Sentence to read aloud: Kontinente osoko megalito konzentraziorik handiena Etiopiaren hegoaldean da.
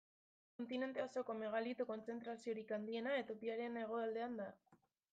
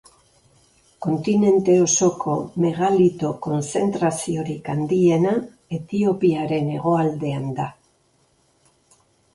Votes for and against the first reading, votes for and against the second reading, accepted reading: 1, 2, 2, 0, second